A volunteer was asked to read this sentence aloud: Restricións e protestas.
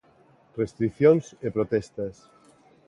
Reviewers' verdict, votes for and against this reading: accepted, 2, 0